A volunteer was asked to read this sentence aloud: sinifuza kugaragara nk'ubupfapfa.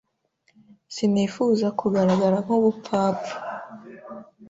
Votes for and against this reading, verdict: 2, 0, accepted